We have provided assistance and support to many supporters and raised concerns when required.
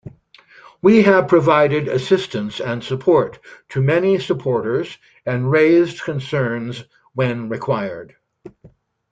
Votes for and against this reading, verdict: 2, 0, accepted